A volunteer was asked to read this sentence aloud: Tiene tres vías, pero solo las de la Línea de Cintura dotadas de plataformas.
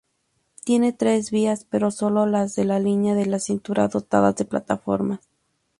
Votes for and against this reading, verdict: 0, 2, rejected